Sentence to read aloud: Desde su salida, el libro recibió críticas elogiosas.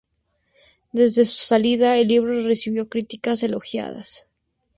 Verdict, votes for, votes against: rejected, 0, 4